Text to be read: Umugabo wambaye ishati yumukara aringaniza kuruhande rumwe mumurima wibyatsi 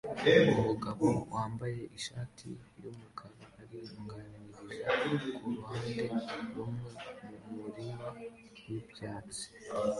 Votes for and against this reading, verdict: 2, 1, accepted